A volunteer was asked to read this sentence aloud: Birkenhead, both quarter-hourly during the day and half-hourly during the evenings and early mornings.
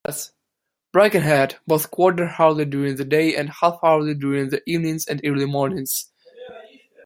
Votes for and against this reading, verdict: 0, 2, rejected